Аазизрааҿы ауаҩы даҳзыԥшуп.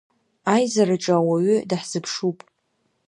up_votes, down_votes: 1, 2